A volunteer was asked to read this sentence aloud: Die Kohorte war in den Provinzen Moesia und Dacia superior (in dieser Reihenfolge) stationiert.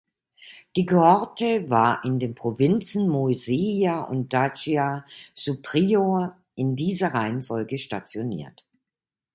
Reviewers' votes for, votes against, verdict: 0, 2, rejected